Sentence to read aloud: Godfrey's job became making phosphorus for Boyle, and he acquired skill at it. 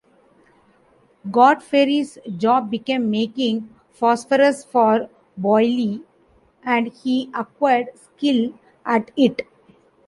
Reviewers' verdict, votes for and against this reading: accepted, 2, 1